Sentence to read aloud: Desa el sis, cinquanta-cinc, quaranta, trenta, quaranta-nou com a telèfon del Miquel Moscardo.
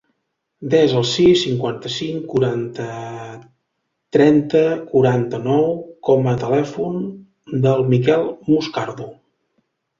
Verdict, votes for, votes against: rejected, 0, 2